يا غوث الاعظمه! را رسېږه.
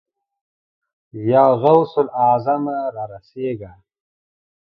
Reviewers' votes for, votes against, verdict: 2, 0, accepted